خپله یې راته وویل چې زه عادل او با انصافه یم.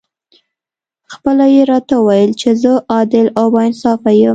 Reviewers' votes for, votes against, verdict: 2, 0, accepted